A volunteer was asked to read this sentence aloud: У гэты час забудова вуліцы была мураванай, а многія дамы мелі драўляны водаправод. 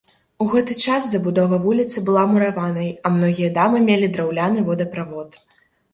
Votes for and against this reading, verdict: 1, 3, rejected